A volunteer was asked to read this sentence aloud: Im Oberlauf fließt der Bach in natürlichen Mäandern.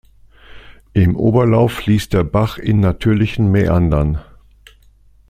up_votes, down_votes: 2, 0